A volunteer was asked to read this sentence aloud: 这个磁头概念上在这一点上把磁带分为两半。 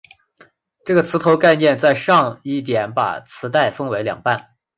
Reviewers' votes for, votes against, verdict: 4, 1, accepted